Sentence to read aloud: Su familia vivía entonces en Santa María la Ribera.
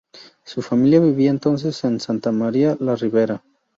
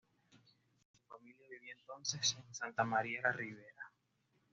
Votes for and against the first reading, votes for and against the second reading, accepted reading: 2, 0, 0, 2, first